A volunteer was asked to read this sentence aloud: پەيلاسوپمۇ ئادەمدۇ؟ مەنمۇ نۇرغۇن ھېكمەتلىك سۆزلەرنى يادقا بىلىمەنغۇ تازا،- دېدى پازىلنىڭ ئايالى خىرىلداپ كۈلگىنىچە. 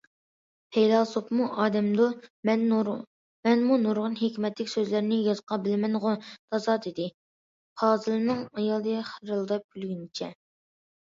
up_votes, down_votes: 0, 2